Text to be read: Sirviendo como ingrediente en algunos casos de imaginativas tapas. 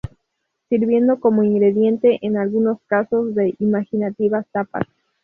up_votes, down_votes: 2, 0